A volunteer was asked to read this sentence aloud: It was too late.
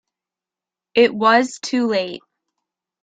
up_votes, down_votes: 2, 0